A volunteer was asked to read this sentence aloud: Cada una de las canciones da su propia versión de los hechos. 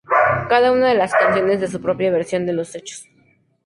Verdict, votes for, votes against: accepted, 2, 0